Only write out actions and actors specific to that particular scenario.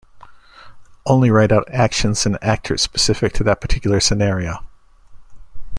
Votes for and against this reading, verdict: 2, 0, accepted